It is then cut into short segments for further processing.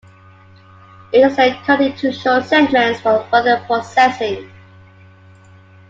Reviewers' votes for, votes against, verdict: 2, 1, accepted